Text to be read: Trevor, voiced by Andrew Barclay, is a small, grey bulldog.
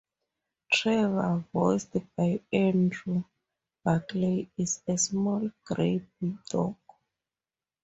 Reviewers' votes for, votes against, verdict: 2, 0, accepted